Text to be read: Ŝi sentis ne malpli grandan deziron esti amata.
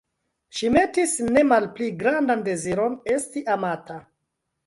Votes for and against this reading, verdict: 0, 2, rejected